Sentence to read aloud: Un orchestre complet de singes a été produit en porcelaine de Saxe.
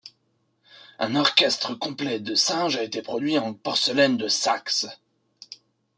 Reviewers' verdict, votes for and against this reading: accepted, 2, 1